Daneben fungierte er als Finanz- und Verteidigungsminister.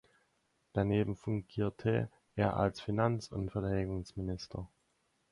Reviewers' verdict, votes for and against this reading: rejected, 2, 4